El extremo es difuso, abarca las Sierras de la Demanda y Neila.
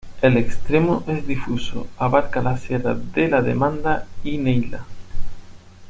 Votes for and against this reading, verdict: 2, 0, accepted